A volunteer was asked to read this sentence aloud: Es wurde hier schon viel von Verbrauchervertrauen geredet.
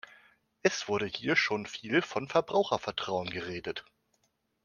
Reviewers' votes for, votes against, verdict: 2, 0, accepted